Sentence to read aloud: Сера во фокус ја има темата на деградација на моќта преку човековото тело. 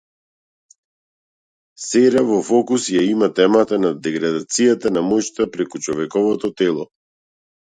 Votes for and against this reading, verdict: 0, 2, rejected